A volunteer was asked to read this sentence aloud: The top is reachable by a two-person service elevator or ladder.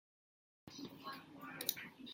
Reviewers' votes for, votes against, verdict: 0, 2, rejected